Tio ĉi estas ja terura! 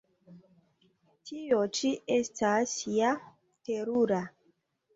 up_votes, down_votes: 2, 0